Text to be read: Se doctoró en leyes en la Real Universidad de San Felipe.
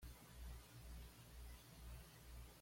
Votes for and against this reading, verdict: 1, 2, rejected